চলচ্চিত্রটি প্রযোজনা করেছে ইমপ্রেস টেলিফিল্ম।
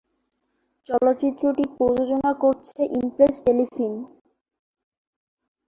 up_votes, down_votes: 0, 4